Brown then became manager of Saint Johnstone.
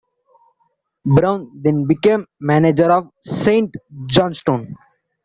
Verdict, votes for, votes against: accepted, 2, 1